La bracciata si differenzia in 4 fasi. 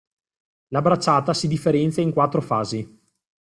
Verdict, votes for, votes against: rejected, 0, 2